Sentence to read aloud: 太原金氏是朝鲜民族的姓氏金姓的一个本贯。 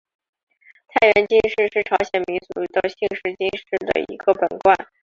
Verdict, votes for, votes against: rejected, 1, 2